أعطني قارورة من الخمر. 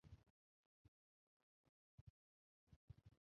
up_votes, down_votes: 0, 2